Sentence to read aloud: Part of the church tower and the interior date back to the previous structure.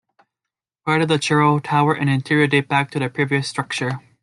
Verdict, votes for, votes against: rejected, 1, 2